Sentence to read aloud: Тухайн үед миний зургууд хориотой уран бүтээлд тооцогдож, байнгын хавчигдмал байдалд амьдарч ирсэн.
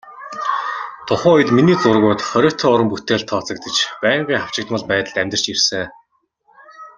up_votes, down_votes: 2, 1